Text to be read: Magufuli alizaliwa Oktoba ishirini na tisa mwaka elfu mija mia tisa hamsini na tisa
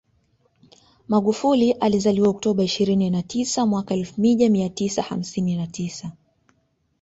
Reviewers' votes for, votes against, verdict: 2, 0, accepted